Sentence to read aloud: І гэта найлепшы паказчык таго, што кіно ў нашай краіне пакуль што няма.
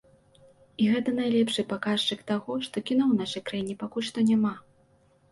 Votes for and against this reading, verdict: 2, 1, accepted